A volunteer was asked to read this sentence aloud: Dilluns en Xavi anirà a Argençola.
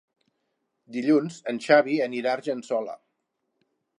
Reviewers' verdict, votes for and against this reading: accepted, 3, 0